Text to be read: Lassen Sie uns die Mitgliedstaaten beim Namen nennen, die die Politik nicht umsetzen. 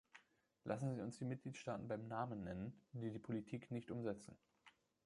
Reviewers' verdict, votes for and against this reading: accepted, 2, 1